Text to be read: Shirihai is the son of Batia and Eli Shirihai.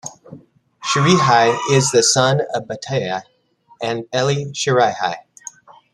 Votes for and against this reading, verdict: 1, 2, rejected